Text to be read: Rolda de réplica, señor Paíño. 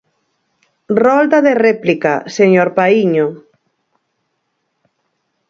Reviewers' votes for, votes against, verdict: 4, 0, accepted